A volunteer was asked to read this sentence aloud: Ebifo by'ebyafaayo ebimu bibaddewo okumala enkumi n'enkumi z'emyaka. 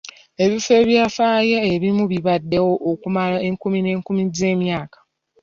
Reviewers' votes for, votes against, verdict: 1, 3, rejected